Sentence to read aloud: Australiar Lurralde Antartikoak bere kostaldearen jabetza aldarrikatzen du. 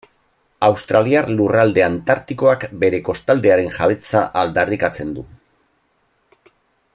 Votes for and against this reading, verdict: 2, 1, accepted